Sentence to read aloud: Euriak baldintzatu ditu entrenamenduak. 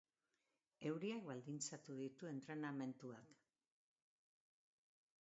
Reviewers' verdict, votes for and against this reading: accepted, 2, 1